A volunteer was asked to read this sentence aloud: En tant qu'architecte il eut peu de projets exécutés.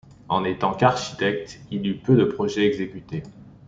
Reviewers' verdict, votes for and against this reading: rejected, 0, 2